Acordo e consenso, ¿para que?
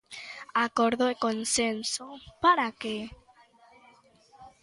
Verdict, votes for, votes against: accepted, 2, 0